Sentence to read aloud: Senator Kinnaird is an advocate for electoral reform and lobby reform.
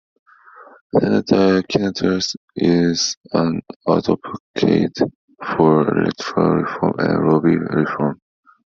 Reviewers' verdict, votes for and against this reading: rejected, 0, 2